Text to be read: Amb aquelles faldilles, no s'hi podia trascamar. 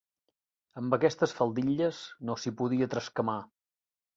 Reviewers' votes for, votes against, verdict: 1, 2, rejected